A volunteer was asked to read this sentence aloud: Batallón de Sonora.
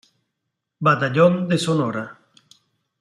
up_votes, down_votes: 2, 0